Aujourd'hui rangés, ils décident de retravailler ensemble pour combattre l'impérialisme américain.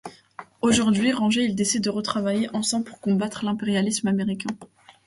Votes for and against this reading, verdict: 2, 0, accepted